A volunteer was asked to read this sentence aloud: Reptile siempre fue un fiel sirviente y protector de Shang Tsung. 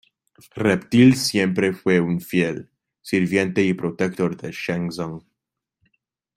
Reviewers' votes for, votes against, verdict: 0, 2, rejected